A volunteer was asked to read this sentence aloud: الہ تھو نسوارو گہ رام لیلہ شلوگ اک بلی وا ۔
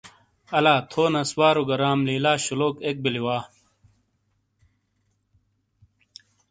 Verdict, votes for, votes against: accepted, 2, 0